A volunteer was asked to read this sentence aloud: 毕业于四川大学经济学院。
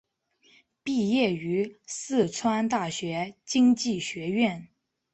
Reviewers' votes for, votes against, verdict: 2, 0, accepted